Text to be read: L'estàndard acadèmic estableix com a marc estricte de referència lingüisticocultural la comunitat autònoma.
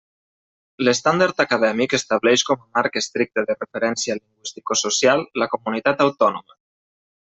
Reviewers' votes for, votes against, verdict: 0, 2, rejected